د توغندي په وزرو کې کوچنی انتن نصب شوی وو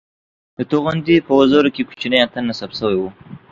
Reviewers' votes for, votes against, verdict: 2, 0, accepted